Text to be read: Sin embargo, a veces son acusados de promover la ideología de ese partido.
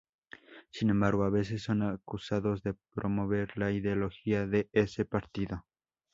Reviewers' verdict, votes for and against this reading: rejected, 0, 2